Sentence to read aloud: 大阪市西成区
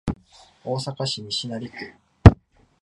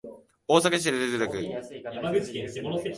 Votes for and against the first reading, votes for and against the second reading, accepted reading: 3, 0, 0, 3, first